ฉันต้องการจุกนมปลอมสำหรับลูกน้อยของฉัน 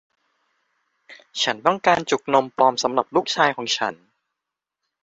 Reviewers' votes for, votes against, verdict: 2, 3, rejected